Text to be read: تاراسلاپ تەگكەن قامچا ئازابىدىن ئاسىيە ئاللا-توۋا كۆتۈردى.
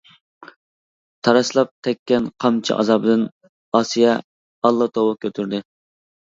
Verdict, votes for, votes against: accepted, 2, 0